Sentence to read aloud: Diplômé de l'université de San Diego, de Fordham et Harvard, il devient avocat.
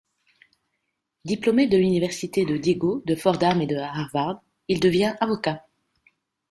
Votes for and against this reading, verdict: 1, 2, rejected